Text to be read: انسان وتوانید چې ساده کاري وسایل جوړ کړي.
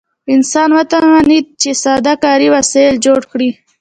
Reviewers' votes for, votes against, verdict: 1, 2, rejected